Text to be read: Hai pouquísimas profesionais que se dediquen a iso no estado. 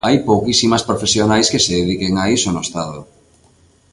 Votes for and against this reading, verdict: 2, 0, accepted